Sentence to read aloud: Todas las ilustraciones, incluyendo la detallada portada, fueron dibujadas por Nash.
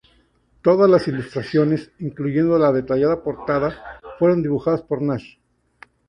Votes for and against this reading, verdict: 0, 4, rejected